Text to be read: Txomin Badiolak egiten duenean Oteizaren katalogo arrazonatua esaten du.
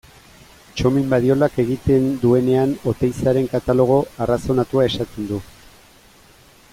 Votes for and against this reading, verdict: 2, 0, accepted